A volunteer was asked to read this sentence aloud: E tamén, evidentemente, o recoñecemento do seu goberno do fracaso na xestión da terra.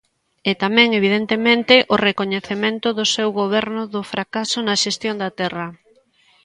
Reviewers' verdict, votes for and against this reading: accepted, 2, 0